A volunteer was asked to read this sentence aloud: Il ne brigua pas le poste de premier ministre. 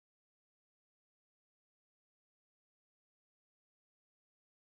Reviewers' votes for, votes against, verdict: 0, 2, rejected